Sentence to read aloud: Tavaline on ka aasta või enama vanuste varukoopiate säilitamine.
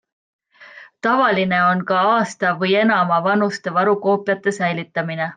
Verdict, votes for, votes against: accepted, 2, 0